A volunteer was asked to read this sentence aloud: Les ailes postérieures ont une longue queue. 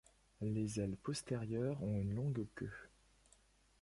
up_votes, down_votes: 1, 2